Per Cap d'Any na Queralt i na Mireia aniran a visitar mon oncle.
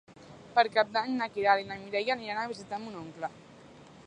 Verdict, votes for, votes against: accepted, 2, 0